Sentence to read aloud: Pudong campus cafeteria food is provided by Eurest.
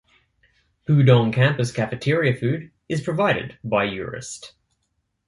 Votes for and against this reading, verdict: 2, 0, accepted